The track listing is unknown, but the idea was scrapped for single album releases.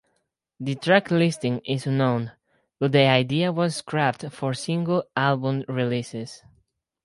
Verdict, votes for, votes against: rejected, 0, 4